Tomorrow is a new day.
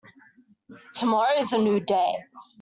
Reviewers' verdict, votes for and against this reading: rejected, 1, 2